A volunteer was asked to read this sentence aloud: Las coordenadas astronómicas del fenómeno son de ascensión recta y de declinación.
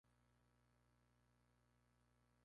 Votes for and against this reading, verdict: 0, 2, rejected